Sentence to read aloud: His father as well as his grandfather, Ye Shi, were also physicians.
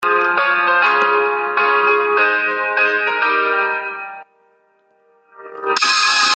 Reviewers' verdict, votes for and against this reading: rejected, 0, 2